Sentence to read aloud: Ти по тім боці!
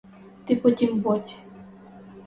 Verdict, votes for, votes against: rejected, 2, 2